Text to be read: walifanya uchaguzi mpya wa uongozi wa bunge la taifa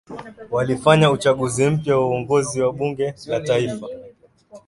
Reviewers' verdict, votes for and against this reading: accepted, 2, 0